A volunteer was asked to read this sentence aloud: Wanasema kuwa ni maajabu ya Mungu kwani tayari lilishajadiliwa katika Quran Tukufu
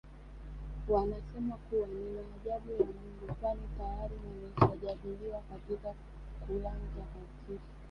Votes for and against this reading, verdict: 2, 0, accepted